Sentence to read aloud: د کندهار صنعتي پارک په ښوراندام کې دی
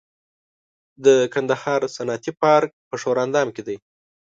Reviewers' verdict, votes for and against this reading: accepted, 2, 0